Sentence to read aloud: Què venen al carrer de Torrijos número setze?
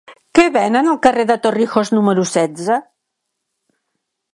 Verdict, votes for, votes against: accepted, 3, 0